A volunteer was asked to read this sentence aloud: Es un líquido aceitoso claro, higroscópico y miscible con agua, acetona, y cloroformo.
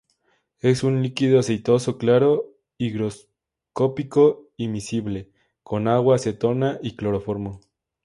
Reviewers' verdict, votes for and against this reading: accepted, 2, 0